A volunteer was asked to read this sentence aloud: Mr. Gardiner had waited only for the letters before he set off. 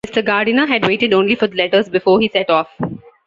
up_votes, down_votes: 1, 2